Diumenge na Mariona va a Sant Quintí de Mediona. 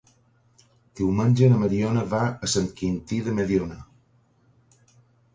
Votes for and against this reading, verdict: 3, 0, accepted